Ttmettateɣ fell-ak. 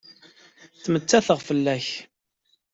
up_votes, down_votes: 2, 0